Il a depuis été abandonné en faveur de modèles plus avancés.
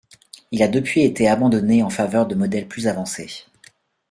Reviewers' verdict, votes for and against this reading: accepted, 2, 0